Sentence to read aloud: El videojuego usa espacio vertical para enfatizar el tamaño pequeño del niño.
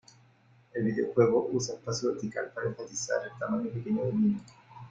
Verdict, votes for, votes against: accepted, 2, 1